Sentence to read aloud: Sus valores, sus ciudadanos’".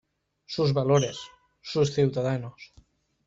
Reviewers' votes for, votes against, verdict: 2, 1, accepted